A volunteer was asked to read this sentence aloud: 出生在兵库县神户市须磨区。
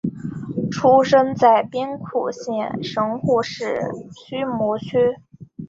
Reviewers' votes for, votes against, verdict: 4, 1, accepted